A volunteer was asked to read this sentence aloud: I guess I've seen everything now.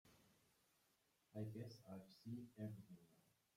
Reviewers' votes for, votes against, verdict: 0, 2, rejected